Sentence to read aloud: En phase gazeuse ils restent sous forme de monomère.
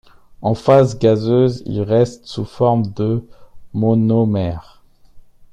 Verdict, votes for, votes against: accepted, 2, 0